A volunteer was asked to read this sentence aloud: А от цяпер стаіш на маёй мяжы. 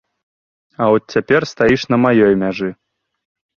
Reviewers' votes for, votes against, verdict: 2, 0, accepted